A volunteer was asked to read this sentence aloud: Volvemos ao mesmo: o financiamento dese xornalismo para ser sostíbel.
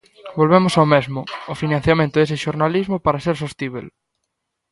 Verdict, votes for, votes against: rejected, 1, 2